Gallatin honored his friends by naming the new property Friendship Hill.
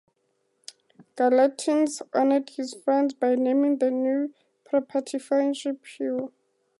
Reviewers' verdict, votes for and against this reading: accepted, 2, 0